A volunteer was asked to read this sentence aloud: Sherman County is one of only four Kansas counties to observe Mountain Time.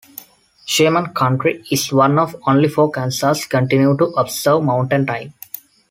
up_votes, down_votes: 1, 2